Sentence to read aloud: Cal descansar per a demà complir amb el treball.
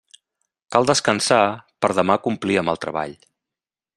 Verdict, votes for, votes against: rejected, 1, 2